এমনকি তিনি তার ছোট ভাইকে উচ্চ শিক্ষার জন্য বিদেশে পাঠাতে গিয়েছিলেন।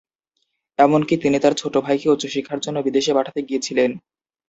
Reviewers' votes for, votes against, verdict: 2, 0, accepted